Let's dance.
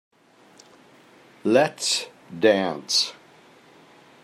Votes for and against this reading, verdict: 2, 0, accepted